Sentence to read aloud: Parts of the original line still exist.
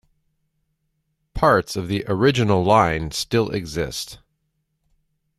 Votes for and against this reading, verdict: 2, 0, accepted